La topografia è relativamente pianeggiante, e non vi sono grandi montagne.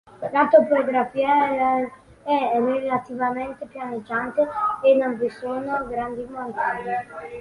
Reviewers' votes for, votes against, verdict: 0, 3, rejected